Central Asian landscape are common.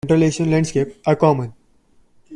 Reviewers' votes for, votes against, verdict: 0, 2, rejected